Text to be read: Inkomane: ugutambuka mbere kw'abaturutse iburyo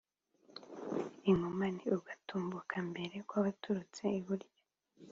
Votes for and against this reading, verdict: 2, 1, accepted